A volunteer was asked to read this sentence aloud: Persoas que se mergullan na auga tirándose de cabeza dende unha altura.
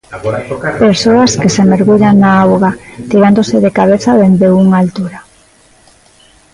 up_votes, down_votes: 0, 2